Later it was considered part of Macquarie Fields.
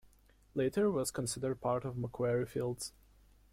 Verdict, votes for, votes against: accepted, 2, 0